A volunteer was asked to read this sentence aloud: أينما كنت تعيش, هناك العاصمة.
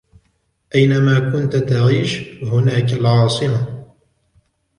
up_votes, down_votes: 1, 2